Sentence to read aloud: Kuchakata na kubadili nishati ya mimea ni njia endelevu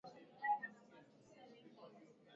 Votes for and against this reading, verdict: 0, 2, rejected